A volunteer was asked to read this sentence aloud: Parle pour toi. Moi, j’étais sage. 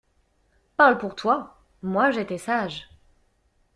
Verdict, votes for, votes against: accepted, 2, 0